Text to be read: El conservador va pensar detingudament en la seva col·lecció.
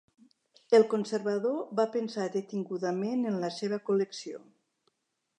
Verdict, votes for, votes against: accepted, 3, 0